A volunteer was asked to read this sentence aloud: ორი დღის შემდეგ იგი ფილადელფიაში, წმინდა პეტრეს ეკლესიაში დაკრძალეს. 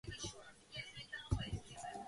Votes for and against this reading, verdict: 0, 2, rejected